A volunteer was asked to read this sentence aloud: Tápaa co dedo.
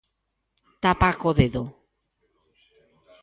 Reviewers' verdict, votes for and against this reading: accepted, 2, 0